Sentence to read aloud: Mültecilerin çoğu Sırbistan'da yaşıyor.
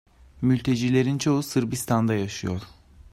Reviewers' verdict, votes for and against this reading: accepted, 2, 0